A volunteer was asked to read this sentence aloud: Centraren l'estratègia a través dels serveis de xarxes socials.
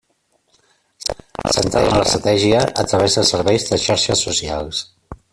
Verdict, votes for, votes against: rejected, 0, 2